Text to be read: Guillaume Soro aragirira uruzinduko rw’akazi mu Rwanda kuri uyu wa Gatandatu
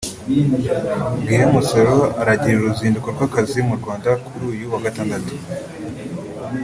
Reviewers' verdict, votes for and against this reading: accepted, 2, 1